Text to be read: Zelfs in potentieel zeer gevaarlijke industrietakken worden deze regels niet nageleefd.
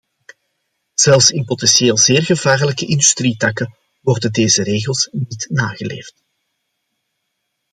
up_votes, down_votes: 2, 0